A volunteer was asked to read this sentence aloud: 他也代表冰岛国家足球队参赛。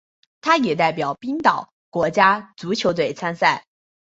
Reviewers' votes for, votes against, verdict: 2, 0, accepted